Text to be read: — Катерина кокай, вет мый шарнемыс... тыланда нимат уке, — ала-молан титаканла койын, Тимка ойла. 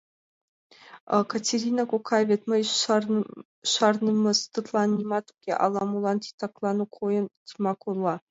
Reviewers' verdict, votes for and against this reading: rejected, 1, 2